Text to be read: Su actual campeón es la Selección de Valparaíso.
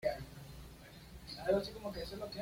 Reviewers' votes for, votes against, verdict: 1, 2, rejected